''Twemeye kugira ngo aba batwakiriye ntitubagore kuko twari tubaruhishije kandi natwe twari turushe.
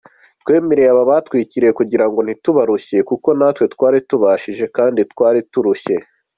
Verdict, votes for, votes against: accepted, 2, 0